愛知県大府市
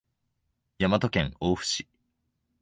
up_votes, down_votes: 1, 2